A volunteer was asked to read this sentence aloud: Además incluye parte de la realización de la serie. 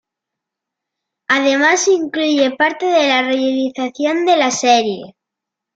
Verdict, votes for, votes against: rejected, 1, 2